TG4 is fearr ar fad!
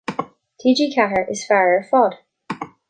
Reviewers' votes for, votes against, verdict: 0, 2, rejected